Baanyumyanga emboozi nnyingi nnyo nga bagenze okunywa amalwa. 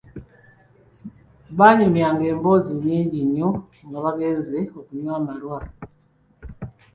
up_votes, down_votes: 3, 0